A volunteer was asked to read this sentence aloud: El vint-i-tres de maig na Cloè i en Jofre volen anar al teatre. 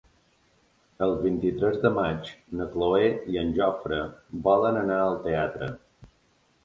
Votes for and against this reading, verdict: 3, 0, accepted